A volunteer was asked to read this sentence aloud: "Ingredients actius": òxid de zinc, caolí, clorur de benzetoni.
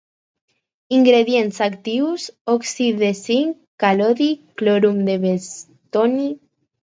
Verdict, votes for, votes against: rejected, 0, 4